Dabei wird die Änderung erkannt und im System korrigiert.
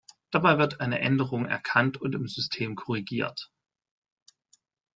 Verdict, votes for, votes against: rejected, 0, 2